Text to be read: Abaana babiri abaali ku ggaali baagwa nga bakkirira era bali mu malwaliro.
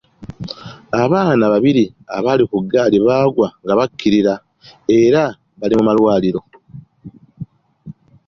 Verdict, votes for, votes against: accepted, 2, 0